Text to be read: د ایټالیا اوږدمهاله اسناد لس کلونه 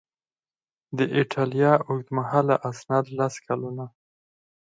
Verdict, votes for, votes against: accepted, 4, 0